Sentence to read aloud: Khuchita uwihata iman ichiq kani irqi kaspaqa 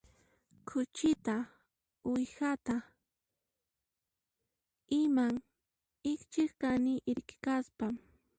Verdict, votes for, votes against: accepted, 2, 0